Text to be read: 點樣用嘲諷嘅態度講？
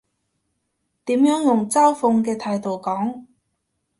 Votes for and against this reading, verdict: 1, 2, rejected